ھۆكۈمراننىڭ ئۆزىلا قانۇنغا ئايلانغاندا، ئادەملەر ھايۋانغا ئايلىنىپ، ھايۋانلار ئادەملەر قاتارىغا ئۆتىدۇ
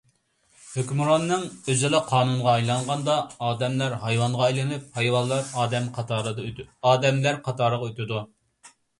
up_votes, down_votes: 0, 2